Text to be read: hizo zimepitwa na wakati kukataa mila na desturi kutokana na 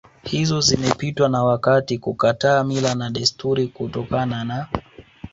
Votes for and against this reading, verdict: 1, 2, rejected